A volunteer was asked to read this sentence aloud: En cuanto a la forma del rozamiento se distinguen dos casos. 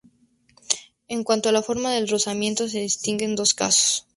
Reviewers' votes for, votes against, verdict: 2, 0, accepted